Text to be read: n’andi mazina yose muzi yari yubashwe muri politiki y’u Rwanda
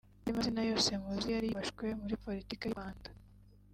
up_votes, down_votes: 0, 2